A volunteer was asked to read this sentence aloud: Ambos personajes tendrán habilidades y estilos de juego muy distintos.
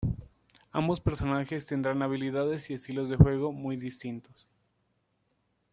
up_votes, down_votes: 2, 0